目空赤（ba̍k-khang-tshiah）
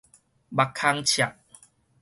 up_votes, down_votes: 6, 0